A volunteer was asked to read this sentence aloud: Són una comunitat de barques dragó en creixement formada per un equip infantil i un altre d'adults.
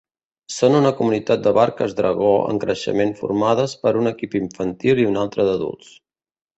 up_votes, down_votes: 1, 2